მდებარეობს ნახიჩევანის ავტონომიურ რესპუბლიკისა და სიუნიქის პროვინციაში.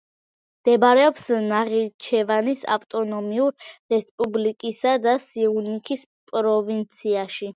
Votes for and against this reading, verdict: 2, 0, accepted